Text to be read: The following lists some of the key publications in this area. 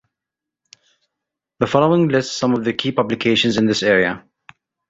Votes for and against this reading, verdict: 2, 0, accepted